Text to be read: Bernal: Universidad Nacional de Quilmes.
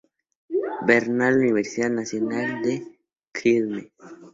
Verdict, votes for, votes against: rejected, 0, 4